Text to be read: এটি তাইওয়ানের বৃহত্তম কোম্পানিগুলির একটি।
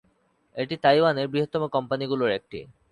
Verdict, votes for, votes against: accepted, 2, 0